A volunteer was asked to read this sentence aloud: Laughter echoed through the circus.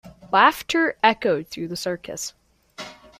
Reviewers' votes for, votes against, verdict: 2, 0, accepted